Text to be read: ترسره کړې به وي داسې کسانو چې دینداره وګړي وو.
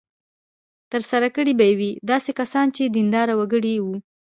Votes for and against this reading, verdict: 2, 0, accepted